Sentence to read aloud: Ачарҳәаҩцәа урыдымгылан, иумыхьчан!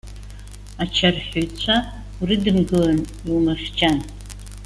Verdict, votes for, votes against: rejected, 1, 2